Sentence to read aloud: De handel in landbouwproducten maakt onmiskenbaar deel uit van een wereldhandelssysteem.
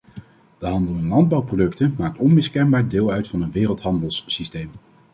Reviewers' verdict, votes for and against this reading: accepted, 2, 0